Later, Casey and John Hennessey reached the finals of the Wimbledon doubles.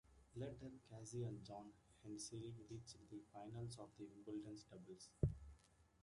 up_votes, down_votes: 0, 2